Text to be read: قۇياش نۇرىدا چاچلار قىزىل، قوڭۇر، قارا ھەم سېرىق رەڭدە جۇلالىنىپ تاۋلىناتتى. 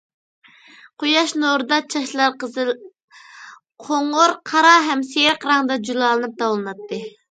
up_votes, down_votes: 2, 1